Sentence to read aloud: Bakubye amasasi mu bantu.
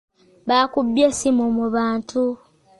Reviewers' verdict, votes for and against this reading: rejected, 1, 2